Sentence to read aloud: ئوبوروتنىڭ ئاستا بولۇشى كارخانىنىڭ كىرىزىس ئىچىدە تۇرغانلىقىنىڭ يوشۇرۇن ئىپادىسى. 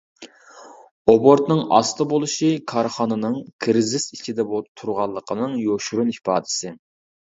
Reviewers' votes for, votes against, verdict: 1, 2, rejected